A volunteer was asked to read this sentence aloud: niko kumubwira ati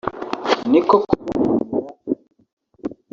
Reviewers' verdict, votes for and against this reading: rejected, 1, 3